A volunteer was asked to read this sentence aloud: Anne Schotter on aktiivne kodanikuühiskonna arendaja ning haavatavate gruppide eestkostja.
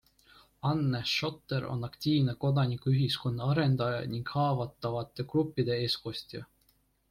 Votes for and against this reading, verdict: 2, 0, accepted